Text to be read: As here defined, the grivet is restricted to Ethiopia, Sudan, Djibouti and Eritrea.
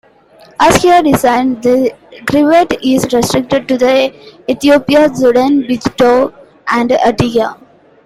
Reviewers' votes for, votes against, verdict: 0, 2, rejected